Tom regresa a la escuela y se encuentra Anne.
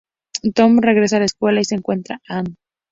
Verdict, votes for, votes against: accepted, 2, 0